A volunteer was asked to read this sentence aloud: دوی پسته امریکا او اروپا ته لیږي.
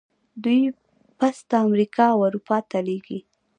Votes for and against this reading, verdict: 2, 0, accepted